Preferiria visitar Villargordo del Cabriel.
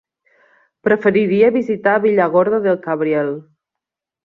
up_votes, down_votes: 2, 0